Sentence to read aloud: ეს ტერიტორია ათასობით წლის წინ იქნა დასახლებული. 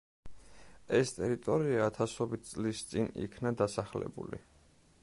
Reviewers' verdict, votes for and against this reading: accepted, 2, 0